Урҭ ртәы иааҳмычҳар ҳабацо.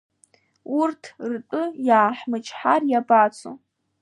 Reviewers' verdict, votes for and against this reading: rejected, 0, 2